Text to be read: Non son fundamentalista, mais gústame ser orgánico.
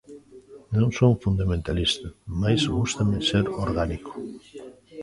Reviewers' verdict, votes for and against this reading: rejected, 0, 2